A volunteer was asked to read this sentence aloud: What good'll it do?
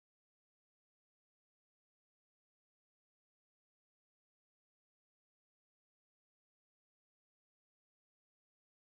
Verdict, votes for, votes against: rejected, 0, 2